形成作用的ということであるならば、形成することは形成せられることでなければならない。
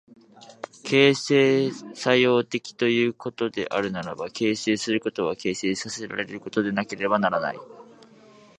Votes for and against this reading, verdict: 2, 1, accepted